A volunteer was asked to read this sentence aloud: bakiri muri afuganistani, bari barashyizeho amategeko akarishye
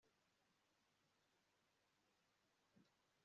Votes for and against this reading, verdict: 1, 2, rejected